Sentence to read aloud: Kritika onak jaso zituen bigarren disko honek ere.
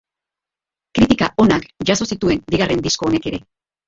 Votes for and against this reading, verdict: 1, 2, rejected